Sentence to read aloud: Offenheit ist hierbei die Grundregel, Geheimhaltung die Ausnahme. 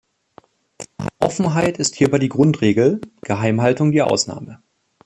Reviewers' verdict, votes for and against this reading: rejected, 1, 2